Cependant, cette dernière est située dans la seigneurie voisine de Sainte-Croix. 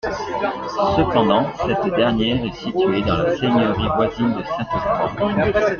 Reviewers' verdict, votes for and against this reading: rejected, 1, 2